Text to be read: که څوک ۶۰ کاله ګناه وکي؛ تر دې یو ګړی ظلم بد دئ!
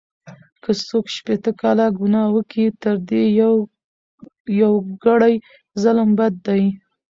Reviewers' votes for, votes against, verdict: 0, 2, rejected